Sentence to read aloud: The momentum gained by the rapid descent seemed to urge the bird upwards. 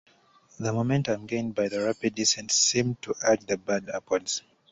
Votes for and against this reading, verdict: 1, 2, rejected